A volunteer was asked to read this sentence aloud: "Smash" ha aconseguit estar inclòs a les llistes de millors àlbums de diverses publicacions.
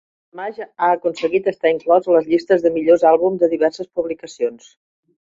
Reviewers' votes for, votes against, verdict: 0, 2, rejected